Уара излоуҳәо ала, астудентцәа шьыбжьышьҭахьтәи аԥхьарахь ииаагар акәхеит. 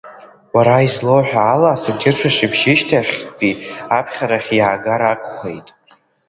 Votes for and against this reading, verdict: 2, 1, accepted